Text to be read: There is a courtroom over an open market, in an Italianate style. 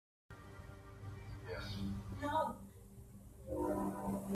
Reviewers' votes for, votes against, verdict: 0, 2, rejected